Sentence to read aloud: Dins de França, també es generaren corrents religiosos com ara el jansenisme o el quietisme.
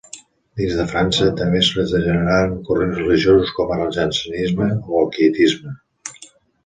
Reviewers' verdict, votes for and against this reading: rejected, 0, 2